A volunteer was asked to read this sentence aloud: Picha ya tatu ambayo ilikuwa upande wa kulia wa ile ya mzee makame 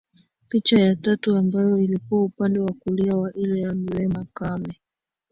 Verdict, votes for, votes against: rejected, 0, 2